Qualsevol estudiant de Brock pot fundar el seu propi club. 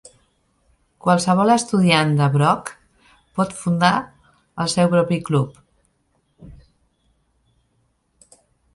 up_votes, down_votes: 2, 0